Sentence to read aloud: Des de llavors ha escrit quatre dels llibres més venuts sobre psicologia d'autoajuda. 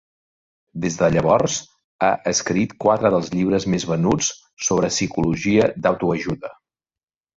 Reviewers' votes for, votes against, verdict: 2, 0, accepted